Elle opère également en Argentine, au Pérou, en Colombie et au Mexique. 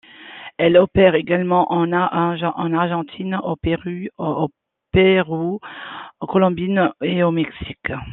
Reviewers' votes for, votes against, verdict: 0, 2, rejected